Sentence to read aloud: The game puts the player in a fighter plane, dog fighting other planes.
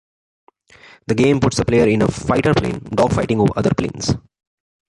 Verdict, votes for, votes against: accepted, 2, 1